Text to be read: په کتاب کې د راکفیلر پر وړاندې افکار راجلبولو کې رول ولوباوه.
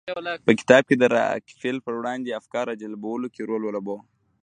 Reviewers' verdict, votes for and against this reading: rejected, 1, 2